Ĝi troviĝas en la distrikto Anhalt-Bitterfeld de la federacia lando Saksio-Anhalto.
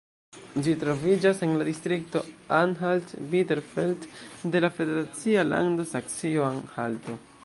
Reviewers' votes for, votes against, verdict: 2, 0, accepted